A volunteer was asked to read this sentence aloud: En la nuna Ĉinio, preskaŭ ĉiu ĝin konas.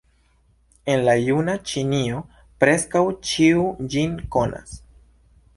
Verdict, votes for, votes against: rejected, 1, 2